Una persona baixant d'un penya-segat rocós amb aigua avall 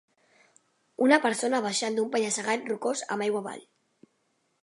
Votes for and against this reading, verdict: 2, 0, accepted